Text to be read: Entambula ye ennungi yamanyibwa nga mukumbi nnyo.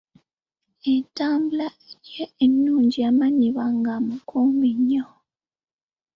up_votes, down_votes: 0, 3